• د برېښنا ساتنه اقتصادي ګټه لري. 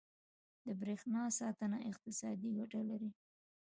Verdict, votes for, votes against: accepted, 2, 0